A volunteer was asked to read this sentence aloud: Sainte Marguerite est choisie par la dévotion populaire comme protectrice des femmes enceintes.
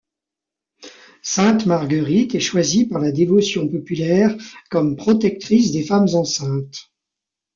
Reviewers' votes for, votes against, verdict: 2, 0, accepted